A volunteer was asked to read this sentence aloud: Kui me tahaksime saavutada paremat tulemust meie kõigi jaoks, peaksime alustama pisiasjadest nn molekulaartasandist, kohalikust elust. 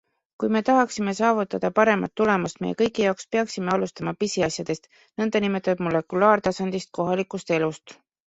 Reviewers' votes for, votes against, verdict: 2, 0, accepted